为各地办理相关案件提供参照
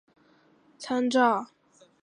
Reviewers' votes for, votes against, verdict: 0, 2, rejected